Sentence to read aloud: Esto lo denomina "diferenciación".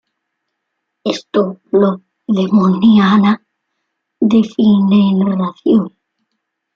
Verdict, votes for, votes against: rejected, 0, 2